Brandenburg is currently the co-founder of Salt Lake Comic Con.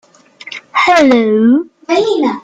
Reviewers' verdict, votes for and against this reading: rejected, 0, 2